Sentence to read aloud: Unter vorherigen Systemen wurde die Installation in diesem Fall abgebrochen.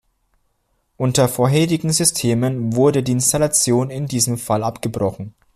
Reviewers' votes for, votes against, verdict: 2, 0, accepted